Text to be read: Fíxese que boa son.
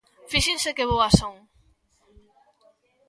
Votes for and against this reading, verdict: 0, 2, rejected